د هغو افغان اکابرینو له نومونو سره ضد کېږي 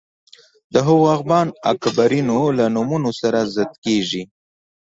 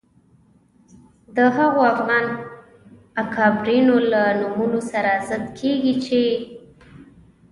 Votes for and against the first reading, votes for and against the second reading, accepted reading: 2, 0, 1, 2, first